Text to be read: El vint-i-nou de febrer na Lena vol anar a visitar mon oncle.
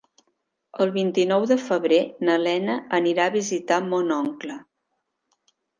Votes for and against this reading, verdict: 0, 4, rejected